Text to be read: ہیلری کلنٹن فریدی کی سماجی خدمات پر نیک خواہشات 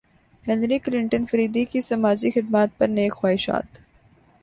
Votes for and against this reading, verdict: 2, 0, accepted